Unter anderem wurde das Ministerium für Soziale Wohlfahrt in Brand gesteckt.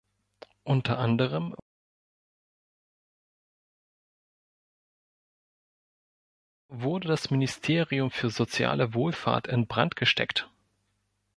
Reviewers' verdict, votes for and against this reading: rejected, 1, 2